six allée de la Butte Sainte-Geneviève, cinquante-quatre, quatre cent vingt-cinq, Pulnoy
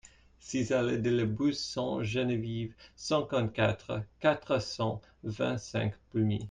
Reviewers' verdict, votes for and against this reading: rejected, 0, 2